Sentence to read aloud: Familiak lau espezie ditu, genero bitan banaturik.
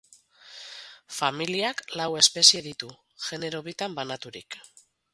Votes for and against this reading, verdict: 8, 0, accepted